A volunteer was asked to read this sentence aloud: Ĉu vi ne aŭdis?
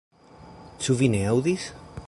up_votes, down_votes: 3, 0